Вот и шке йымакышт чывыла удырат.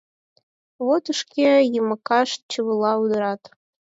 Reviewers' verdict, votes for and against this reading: accepted, 4, 0